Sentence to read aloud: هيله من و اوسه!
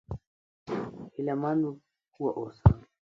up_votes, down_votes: 1, 2